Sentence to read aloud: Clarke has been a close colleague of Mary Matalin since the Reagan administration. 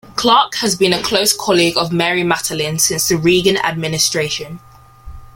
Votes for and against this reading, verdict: 2, 0, accepted